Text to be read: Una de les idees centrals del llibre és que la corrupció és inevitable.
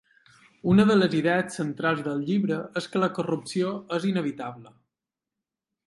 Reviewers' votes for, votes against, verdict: 3, 0, accepted